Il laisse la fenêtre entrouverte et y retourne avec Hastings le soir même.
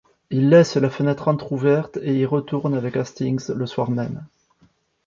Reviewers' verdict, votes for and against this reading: accepted, 2, 0